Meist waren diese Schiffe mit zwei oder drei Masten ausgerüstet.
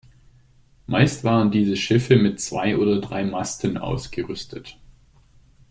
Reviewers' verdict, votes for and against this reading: accepted, 2, 0